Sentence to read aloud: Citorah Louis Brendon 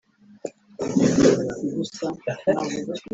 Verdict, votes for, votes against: rejected, 0, 2